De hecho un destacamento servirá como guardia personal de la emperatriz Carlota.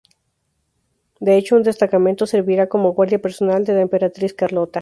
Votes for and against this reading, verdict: 0, 2, rejected